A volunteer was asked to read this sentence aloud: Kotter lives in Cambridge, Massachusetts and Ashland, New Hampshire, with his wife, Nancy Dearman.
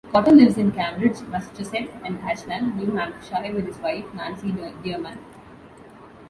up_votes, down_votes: 1, 2